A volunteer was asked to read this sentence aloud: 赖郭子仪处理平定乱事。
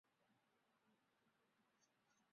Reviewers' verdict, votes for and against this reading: rejected, 0, 4